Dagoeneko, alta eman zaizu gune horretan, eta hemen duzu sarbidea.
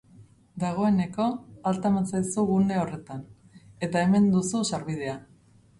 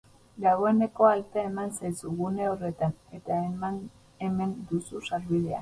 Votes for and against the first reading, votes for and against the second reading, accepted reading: 2, 0, 2, 4, first